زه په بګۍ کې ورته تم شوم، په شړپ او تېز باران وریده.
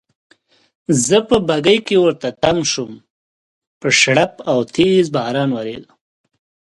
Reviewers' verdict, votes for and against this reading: accepted, 2, 0